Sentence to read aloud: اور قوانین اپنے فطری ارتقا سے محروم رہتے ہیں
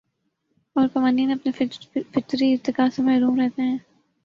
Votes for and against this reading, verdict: 2, 0, accepted